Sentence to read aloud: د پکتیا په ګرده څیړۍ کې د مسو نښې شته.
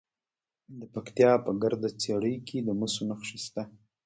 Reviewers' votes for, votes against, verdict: 2, 1, accepted